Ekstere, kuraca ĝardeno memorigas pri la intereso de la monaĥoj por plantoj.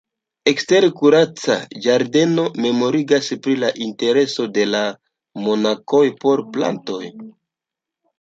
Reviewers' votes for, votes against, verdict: 1, 2, rejected